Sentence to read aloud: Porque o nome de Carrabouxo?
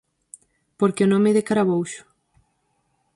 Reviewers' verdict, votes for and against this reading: rejected, 0, 4